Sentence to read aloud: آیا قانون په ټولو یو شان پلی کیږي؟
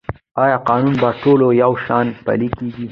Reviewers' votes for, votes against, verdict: 1, 2, rejected